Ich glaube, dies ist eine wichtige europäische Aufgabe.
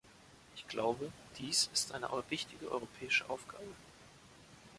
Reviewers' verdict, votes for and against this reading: rejected, 0, 3